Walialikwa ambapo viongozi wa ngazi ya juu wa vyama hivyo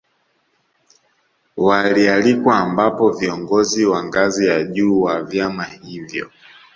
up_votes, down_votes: 2, 0